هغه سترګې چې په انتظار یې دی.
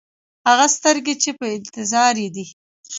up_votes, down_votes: 1, 2